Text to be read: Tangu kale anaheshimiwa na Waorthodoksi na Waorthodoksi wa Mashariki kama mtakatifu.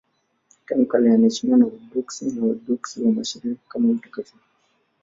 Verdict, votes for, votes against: accepted, 2, 0